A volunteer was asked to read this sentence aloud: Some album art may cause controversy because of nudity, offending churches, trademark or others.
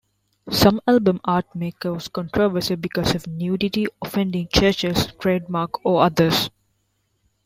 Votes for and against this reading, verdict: 2, 0, accepted